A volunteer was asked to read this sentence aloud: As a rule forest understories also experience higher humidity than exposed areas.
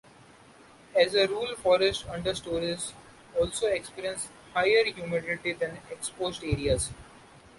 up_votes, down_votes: 2, 1